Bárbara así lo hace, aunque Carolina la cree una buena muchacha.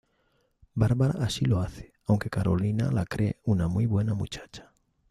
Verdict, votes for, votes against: rejected, 0, 2